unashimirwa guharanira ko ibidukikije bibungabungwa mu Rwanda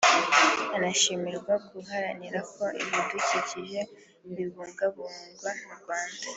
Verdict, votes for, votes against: accepted, 2, 1